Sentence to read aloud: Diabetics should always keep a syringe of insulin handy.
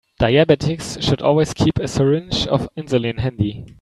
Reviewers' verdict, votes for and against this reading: rejected, 0, 2